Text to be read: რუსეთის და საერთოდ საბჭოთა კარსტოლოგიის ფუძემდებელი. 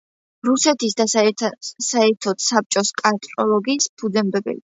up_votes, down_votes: 1, 2